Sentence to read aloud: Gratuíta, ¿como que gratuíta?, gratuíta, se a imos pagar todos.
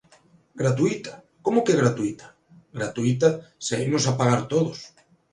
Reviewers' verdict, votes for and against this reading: rejected, 1, 2